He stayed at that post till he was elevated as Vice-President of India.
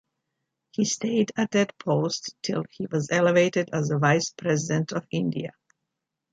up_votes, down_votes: 2, 0